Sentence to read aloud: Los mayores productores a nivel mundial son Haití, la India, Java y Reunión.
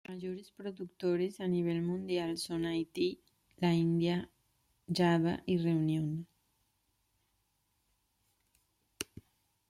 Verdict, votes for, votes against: rejected, 1, 2